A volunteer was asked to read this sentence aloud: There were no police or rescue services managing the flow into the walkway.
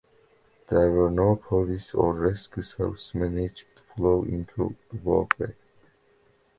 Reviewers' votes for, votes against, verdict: 1, 2, rejected